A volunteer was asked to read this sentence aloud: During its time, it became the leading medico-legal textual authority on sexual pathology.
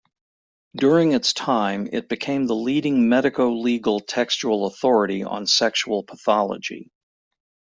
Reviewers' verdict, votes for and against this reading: accepted, 2, 0